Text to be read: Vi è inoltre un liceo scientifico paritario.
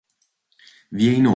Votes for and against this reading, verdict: 0, 2, rejected